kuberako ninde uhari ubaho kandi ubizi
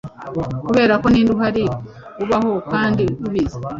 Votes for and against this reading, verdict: 2, 0, accepted